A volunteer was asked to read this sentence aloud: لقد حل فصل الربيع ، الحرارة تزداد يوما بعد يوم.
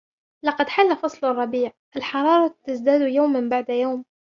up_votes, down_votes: 1, 2